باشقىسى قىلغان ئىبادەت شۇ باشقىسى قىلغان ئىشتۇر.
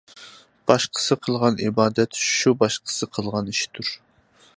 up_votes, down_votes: 2, 0